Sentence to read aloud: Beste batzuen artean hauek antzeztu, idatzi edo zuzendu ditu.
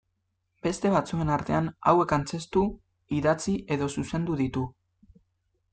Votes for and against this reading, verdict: 2, 0, accepted